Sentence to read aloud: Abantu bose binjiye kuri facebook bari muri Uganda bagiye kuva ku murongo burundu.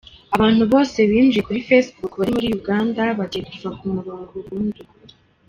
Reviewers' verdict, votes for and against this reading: rejected, 1, 3